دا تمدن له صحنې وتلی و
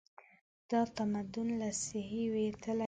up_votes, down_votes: 0, 2